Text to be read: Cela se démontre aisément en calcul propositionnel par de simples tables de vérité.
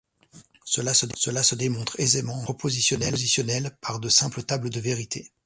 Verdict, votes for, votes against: rejected, 1, 2